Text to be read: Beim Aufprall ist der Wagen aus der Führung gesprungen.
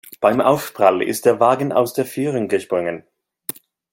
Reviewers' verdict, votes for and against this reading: rejected, 0, 2